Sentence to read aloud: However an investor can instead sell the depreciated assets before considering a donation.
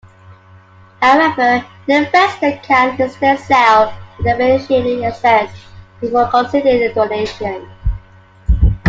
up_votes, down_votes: 0, 2